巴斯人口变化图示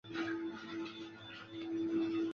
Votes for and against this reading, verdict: 0, 3, rejected